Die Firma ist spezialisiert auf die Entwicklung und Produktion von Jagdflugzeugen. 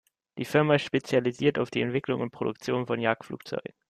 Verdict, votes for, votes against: rejected, 0, 2